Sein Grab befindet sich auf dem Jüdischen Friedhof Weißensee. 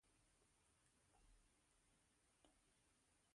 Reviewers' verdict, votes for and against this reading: rejected, 0, 2